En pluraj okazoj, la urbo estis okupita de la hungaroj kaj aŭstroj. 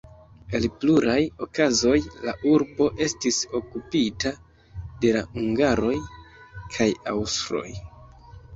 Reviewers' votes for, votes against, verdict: 0, 2, rejected